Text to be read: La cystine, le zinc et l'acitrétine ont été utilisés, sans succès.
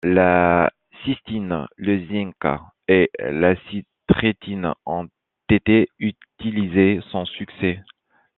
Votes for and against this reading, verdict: 2, 1, accepted